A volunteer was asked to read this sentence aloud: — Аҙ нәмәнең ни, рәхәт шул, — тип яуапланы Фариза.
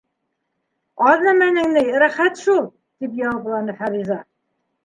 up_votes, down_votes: 3, 0